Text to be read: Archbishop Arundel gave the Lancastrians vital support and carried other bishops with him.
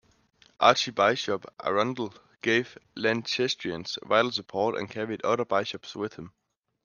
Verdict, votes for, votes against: rejected, 1, 2